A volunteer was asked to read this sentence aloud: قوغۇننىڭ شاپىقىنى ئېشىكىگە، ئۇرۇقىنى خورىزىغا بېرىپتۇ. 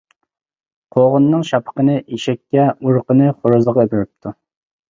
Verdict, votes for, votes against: rejected, 1, 2